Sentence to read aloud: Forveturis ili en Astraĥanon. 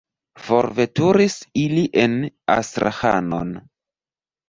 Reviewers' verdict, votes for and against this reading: rejected, 0, 2